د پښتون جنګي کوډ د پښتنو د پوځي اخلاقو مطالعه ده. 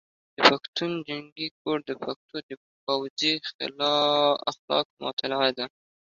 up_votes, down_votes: 2, 0